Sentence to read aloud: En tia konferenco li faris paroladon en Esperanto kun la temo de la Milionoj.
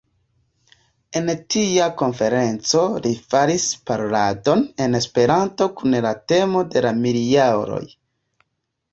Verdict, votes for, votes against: rejected, 1, 2